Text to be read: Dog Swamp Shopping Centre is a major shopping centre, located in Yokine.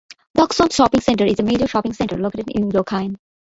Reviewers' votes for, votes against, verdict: 0, 2, rejected